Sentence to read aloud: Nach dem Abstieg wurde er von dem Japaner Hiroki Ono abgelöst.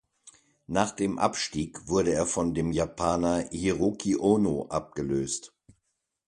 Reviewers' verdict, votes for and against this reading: accepted, 2, 0